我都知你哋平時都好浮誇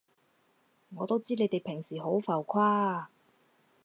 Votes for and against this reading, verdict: 2, 4, rejected